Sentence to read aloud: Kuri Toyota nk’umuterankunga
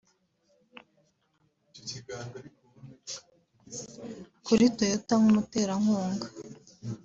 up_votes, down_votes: 2, 0